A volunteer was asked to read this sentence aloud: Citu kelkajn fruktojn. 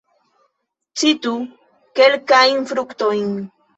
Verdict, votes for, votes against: rejected, 0, 2